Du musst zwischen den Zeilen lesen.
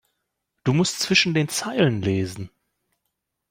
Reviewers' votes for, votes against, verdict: 2, 0, accepted